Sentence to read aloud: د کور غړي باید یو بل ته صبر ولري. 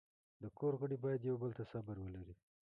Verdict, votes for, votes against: rejected, 1, 2